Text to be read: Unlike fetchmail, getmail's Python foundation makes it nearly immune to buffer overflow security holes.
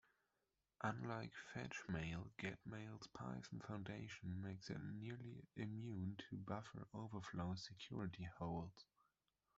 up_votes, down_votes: 2, 1